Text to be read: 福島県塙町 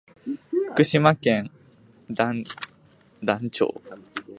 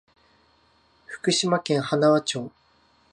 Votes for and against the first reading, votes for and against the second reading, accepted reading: 1, 2, 2, 0, second